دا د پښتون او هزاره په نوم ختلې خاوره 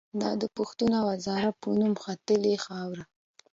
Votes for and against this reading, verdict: 2, 0, accepted